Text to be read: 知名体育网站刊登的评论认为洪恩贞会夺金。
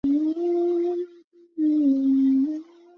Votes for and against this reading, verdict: 0, 3, rejected